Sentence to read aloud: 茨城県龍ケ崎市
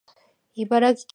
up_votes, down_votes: 2, 3